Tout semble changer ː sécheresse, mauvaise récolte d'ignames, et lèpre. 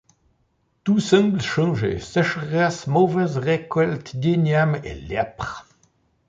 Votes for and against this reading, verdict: 2, 1, accepted